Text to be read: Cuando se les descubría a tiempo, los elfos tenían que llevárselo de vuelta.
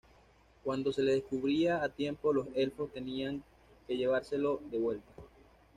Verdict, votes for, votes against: rejected, 0, 2